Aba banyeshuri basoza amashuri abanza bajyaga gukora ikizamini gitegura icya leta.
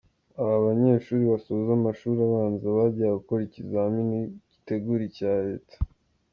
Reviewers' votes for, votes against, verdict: 2, 0, accepted